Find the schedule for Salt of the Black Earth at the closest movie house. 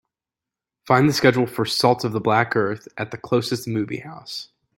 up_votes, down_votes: 2, 0